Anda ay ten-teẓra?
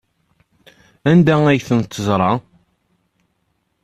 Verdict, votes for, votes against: accepted, 2, 0